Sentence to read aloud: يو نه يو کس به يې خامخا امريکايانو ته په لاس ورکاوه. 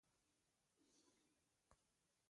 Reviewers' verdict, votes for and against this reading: rejected, 1, 2